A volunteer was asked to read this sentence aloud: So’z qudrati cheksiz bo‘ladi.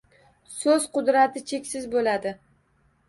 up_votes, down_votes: 2, 0